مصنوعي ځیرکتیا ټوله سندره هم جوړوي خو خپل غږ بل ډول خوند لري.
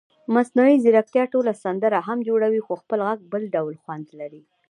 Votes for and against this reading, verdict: 1, 2, rejected